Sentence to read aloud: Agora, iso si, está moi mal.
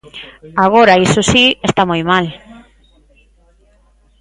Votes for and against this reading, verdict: 2, 0, accepted